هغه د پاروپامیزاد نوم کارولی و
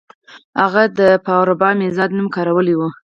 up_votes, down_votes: 2, 4